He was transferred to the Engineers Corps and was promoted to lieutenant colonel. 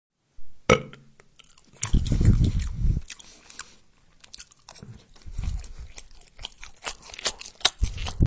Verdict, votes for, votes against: rejected, 0, 2